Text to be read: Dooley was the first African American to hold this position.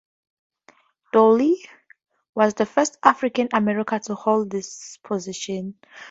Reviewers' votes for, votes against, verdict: 0, 2, rejected